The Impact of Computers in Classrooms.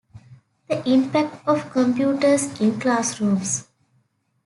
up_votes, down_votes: 2, 0